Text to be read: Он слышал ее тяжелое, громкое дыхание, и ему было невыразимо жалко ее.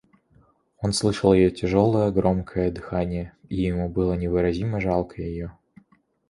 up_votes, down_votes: 2, 0